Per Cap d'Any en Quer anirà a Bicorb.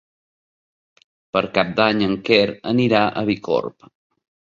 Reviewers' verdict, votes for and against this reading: accepted, 2, 0